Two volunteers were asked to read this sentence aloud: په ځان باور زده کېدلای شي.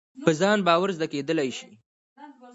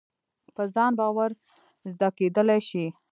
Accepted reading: first